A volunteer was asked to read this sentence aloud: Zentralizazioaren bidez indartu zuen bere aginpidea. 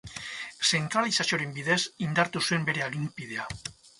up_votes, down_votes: 4, 0